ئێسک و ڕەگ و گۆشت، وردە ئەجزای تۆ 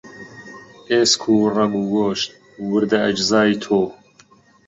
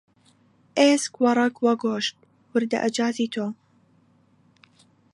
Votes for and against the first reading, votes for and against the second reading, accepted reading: 2, 0, 0, 2, first